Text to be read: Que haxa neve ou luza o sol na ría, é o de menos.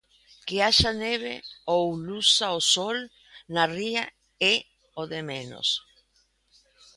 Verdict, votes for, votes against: accepted, 2, 0